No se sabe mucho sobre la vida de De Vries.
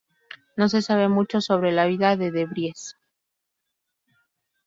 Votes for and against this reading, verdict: 0, 2, rejected